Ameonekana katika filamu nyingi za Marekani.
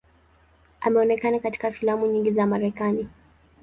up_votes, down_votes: 3, 0